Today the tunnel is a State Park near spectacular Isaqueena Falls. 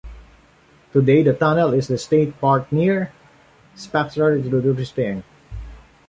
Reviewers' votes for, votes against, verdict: 0, 2, rejected